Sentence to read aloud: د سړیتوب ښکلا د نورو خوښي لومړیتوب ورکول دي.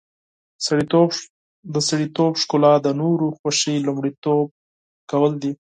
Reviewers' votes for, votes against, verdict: 2, 4, rejected